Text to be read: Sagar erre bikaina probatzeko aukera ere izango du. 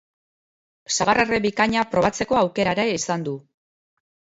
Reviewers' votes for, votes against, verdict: 2, 0, accepted